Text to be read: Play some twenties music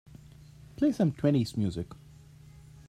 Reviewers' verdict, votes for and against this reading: accepted, 2, 0